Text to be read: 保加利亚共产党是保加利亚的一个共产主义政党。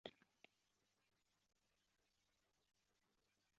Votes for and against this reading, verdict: 1, 4, rejected